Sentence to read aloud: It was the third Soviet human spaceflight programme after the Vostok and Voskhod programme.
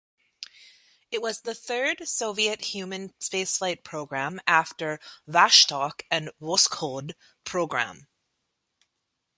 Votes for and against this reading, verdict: 1, 2, rejected